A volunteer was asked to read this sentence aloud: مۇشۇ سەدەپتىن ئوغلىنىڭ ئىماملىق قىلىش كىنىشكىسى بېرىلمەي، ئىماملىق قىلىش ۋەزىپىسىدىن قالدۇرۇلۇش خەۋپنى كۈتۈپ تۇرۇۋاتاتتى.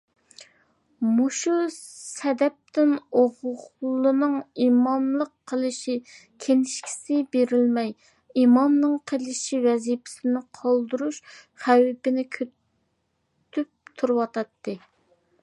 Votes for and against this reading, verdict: 0, 2, rejected